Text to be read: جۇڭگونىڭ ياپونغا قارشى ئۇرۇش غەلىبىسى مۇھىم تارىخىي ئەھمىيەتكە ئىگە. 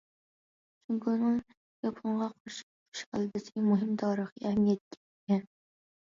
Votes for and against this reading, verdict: 1, 2, rejected